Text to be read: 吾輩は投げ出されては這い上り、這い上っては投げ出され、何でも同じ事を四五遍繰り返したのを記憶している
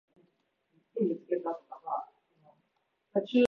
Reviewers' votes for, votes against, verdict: 0, 2, rejected